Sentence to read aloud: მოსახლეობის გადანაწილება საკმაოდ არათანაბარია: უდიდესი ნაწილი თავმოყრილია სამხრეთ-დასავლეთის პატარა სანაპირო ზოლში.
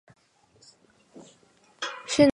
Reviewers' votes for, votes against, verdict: 1, 2, rejected